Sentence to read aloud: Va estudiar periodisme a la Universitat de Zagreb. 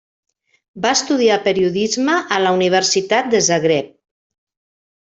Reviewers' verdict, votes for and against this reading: accepted, 3, 0